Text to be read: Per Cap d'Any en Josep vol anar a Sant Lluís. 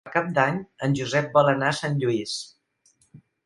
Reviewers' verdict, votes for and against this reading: rejected, 0, 2